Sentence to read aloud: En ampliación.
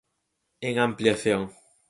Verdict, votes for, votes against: accepted, 4, 0